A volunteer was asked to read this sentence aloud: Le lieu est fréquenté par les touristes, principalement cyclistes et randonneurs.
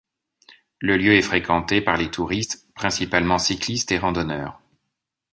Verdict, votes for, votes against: accepted, 2, 0